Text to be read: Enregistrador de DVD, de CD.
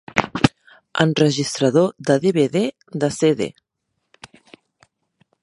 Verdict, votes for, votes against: accepted, 4, 0